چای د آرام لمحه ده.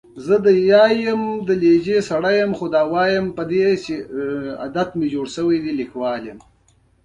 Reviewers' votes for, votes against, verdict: 1, 2, rejected